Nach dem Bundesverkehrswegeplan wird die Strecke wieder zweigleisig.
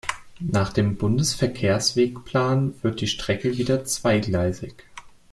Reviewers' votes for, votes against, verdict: 1, 2, rejected